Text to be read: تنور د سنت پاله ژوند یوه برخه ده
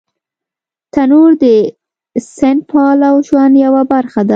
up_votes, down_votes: 3, 0